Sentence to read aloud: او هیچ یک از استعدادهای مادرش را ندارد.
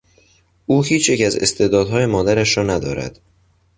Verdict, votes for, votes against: accepted, 2, 0